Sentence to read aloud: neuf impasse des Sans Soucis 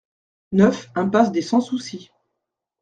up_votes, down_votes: 2, 0